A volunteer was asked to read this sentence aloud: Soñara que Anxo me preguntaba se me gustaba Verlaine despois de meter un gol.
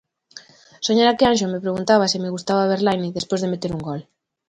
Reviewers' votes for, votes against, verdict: 2, 0, accepted